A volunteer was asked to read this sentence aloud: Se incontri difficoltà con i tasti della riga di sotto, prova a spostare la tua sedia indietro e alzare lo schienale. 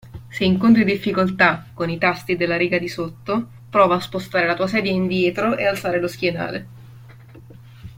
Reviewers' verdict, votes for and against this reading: accepted, 2, 0